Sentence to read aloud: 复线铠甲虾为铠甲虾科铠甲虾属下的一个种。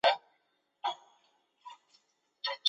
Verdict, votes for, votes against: rejected, 0, 2